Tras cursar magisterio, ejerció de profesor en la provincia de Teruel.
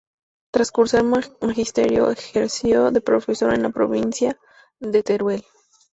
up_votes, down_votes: 0, 2